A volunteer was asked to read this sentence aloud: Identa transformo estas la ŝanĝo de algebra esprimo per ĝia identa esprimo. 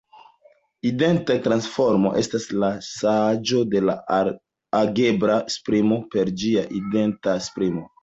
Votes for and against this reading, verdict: 2, 0, accepted